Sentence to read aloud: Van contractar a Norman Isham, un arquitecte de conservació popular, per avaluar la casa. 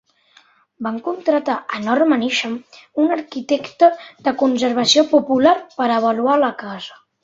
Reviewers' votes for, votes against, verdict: 0, 2, rejected